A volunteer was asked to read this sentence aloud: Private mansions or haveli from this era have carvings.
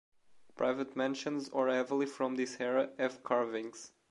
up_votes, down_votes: 1, 2